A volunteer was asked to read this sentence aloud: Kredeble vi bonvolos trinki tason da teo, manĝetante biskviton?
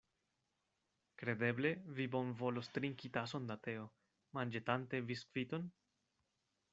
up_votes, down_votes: 2, 0